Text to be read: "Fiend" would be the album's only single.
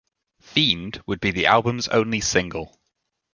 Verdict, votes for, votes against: accepted, 2, 0